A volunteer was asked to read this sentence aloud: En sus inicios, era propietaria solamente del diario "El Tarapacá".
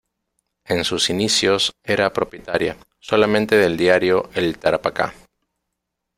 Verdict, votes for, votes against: rejected, 0, 2